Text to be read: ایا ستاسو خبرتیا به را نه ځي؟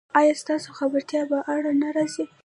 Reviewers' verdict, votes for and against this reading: rejected, 1, 2